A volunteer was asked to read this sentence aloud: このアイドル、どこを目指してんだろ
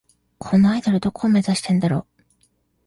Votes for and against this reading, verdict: 2, 0, accepted